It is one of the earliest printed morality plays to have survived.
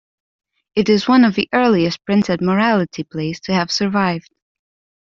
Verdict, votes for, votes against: accepted, 2, 0